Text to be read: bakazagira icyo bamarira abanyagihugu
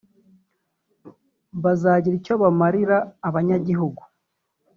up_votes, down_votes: 0, 2